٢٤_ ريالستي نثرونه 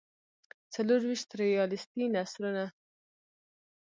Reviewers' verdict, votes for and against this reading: rejected, 0, 2